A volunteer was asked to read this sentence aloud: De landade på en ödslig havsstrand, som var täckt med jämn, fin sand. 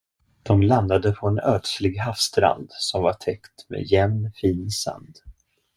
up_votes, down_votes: 2, 0